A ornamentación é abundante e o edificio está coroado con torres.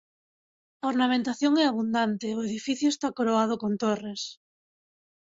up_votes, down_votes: 2, 1